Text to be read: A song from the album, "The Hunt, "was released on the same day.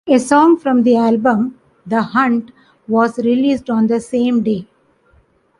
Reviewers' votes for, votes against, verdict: 2, 0, accepted